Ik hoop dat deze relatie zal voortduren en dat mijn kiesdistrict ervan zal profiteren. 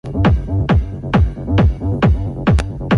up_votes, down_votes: 0, 2